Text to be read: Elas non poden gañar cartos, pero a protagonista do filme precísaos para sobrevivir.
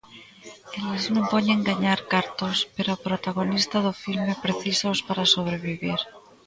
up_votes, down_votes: 1, 2